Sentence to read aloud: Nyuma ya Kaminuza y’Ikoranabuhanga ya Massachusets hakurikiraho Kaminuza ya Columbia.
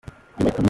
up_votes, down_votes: 0, 2